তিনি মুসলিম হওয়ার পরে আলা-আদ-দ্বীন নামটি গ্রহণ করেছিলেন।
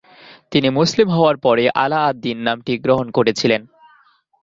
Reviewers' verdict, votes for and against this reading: accepted, 2, 0